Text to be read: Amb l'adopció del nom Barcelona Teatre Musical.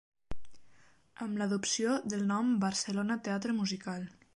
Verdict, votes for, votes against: accepted, 3, 0